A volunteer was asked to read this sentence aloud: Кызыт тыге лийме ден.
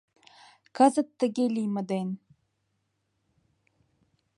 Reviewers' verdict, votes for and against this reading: accepted, 2, 0